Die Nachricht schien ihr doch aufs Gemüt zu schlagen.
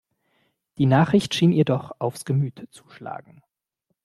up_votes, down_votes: 2, 0